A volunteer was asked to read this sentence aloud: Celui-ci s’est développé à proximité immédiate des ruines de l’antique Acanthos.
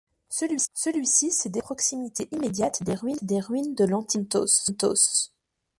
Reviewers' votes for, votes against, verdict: 0, 2, rejected